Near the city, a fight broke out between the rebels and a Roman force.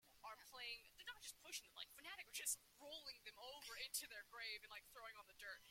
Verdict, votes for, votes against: rejected, 0, 2